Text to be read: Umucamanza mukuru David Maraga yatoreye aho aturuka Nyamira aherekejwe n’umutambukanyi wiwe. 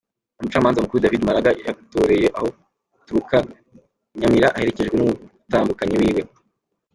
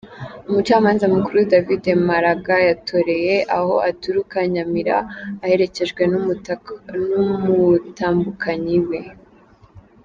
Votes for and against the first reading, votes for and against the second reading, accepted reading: 2, 0, 0, 2, first